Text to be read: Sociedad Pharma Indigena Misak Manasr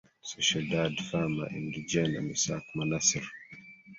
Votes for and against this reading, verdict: 1, 2, rejected